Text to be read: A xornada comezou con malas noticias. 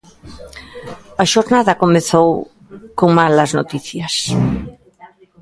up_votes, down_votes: 0, 2